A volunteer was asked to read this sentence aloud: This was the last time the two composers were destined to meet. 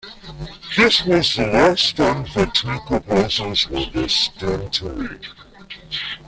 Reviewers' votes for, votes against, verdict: 1, 2, rejected